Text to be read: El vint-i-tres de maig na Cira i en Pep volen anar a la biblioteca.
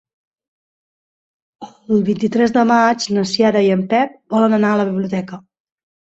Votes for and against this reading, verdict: 0, 2, rejected